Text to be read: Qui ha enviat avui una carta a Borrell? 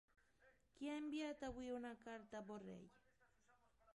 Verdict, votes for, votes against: rejected, 0, 2